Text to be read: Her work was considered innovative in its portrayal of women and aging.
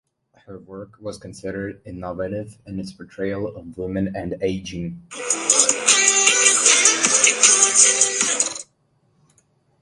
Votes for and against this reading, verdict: 0, 3, rejected